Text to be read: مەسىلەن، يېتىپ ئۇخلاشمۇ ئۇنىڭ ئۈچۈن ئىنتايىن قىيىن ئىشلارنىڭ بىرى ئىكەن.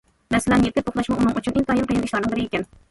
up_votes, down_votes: 1, 2